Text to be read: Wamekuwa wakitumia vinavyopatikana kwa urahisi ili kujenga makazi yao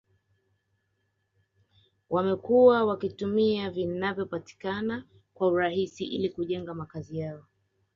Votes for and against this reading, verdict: 2, 0, accepted